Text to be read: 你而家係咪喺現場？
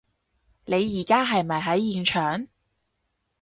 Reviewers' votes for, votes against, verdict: 4, 0, accepted